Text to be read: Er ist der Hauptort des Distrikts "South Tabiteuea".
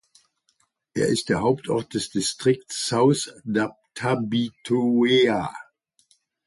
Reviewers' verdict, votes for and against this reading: rejected, 0, 2